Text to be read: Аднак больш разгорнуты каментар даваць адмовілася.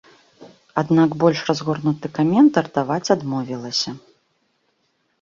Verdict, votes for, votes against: accepted, 2, 0